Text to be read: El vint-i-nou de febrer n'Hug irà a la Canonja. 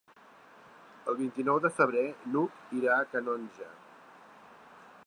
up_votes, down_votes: 2, 3